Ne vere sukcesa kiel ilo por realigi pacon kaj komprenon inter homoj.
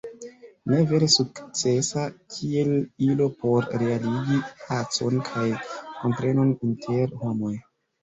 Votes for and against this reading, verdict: 0, 2, rejected